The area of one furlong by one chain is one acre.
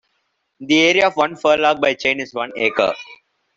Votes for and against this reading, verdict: 1, 2, rejected